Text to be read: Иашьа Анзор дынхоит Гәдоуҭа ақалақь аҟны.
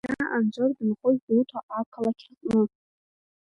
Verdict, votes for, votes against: rejected, 0, 2